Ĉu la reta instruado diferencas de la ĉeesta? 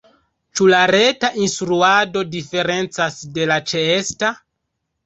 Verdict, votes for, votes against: rejected, 0, 2